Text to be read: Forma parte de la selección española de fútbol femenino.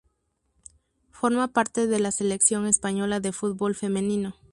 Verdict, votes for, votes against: accepted, 2, 0